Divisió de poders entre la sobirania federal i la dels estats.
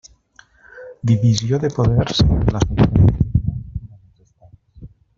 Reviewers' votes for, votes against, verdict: 0, 2, rejected